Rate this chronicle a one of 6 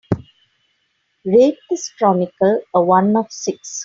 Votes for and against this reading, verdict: 0, 2, rejected